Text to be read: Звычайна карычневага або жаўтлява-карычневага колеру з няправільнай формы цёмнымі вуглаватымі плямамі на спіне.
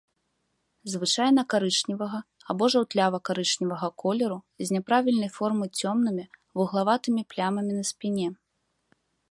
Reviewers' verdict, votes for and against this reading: rejected, 0, 2